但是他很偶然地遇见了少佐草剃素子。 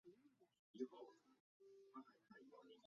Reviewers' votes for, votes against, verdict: 0, 3, rejected